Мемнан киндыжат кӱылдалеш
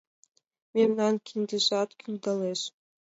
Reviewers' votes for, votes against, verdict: 2, 1, accepted